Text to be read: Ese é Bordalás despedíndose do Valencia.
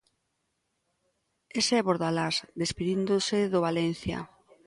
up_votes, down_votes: 2, 0